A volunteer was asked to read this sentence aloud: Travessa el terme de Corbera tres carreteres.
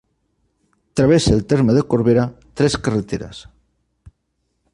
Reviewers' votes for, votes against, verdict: 3, 0, accepted